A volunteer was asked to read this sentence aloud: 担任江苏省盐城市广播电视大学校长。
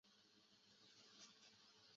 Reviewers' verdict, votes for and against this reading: rejected, 3, 5